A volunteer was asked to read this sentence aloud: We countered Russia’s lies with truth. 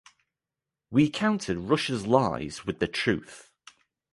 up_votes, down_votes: 0, 2